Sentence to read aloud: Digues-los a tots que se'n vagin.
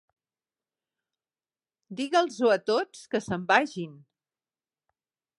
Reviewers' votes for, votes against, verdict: 1, 2, rejected